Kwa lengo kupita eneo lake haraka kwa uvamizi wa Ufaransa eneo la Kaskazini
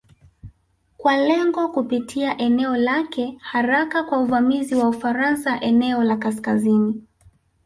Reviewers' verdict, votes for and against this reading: rejected, 0, 2